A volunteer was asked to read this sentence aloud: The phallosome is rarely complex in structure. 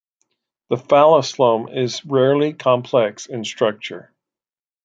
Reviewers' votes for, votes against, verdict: 2, 0, accepted